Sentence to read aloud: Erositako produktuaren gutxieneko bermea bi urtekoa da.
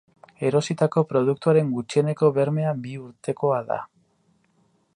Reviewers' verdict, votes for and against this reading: accepted, 4, 0